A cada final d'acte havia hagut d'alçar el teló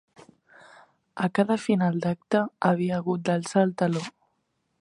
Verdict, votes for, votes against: accepted, 2, 0